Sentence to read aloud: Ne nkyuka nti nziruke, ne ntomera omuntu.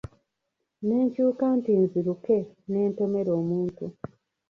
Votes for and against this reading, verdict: 0, 2, rejected